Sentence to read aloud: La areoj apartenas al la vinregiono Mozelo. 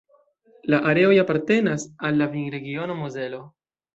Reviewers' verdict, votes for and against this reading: accepted, 2, 0